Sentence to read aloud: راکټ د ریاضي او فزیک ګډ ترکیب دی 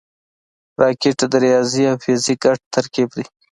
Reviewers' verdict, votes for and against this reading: accepted, 2, 0